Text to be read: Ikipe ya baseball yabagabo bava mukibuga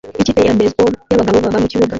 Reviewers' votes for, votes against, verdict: 0, 2, rejected